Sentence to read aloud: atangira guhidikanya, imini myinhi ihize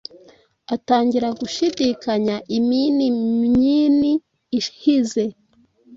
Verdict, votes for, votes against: rejected, 1, 2